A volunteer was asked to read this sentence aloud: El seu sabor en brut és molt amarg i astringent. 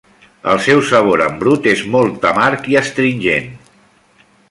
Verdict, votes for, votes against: accepted, 2, 1